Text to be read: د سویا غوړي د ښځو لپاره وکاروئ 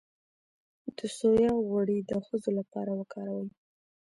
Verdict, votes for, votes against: rejected, 1, 2